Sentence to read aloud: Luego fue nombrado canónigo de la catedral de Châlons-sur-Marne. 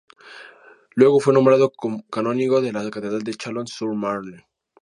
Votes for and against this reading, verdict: 0, 2, rejected